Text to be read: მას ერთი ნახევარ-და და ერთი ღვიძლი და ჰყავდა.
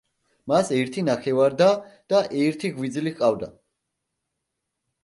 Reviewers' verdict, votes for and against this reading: rejected, 1, 2